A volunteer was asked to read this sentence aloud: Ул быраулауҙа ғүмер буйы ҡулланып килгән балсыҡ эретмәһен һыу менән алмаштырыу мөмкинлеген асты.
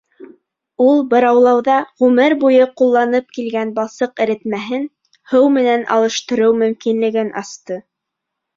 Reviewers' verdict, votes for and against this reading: rejected, 1, 2